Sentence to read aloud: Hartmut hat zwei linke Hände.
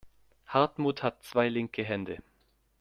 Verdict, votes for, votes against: accepted, 2, 0